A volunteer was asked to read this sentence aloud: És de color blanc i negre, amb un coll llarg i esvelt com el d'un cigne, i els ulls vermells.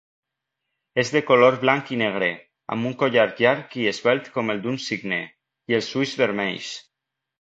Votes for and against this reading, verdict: 0, 2, rejected